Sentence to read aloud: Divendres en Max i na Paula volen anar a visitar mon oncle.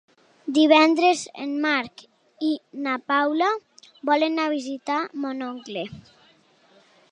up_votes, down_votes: 0, 2